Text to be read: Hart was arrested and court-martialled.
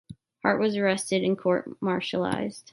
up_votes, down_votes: 1, 2